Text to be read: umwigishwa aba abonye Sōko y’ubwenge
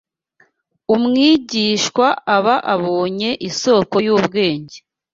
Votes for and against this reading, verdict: 1, 2, rejected